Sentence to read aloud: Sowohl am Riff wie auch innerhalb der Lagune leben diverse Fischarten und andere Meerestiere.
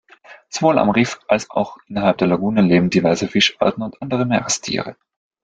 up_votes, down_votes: 0, 2